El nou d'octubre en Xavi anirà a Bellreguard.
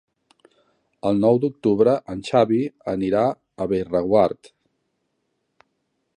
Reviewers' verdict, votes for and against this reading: accepted, 2, 0